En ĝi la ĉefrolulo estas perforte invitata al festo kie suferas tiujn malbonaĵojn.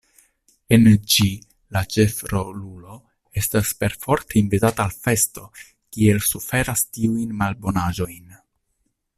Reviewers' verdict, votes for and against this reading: rejected, 0, 2